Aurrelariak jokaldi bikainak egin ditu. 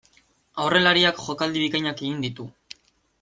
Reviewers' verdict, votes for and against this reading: accepted, 2, 0